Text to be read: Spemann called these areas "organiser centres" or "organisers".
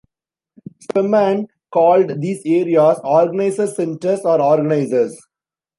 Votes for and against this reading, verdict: 2, 0, accepted